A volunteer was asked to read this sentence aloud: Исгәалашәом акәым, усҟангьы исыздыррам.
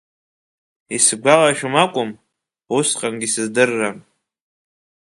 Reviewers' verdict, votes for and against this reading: accepted, 2, 0